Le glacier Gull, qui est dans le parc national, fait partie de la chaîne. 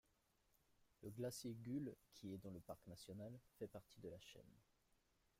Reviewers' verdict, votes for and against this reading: rejected, 1, 2